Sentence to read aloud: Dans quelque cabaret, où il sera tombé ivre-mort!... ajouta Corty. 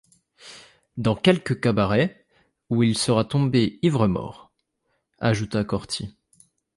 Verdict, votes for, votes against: accepted, 2, 0